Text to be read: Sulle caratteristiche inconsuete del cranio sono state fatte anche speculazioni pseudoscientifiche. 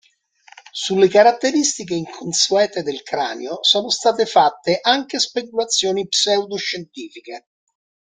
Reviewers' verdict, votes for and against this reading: accepted, 2, 0